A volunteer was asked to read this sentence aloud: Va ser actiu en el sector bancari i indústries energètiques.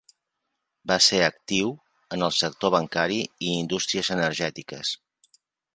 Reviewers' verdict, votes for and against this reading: accepted, 3, 0